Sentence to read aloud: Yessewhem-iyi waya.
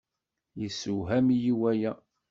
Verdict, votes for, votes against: rejected, 1, 2